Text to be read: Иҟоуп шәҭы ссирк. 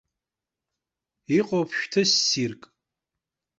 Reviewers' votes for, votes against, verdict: 2, 0, accepted